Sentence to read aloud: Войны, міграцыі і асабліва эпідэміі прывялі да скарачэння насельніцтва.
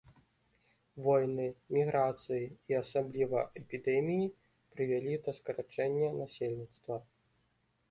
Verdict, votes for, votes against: accepted, 2, 0